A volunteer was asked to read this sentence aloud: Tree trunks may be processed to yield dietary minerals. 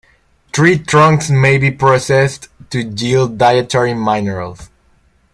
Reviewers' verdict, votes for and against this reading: rejected, 0, 2